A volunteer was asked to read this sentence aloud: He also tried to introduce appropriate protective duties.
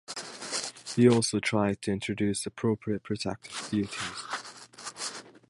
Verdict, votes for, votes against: accepted, 3, 1